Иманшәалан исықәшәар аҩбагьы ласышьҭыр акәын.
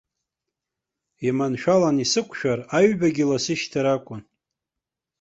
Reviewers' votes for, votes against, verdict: 2, 0, accepted